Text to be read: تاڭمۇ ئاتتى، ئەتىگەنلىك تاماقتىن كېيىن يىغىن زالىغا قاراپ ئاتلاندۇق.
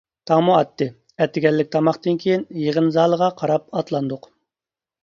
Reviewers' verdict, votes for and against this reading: accepted, 2, 0